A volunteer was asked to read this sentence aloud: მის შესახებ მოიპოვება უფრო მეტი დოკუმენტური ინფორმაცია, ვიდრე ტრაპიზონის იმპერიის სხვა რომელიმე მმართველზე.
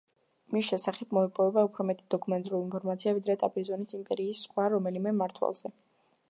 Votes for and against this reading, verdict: 2, 0, accepted